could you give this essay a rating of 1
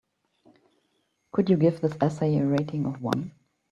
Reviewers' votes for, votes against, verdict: 0, 2, rejected